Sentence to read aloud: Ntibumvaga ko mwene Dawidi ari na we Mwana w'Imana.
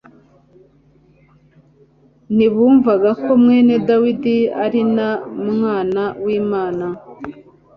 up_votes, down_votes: 1, 2